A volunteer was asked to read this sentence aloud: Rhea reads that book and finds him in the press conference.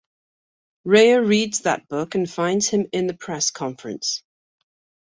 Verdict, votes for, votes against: accepted, 2, 0